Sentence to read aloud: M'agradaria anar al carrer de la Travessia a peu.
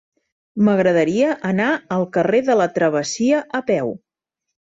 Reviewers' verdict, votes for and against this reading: accepted, 4, 1